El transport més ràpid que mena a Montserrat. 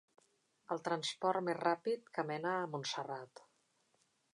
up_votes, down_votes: 2, 0